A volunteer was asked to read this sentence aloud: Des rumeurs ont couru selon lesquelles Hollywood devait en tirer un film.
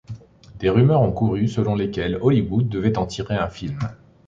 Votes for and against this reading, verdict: 2, 0, accepted